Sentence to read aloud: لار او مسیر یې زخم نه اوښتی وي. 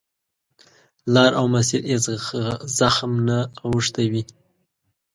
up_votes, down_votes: 0, 2